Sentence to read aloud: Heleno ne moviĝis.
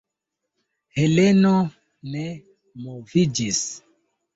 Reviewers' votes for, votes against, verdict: 1, 2, rejected